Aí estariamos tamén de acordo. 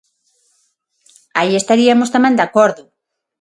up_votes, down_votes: 0, 6